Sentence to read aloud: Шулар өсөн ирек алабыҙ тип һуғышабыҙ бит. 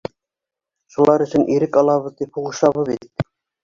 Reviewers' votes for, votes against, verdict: 0, 2, rejected